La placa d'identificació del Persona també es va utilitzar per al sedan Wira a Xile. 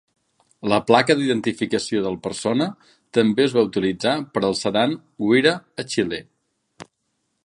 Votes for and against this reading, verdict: 2, 0, accepted